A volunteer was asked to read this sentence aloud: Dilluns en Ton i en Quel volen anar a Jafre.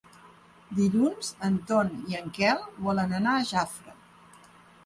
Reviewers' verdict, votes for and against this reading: accepted, 3, 0